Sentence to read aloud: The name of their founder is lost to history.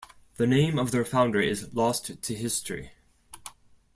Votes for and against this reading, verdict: 2, 0, accepted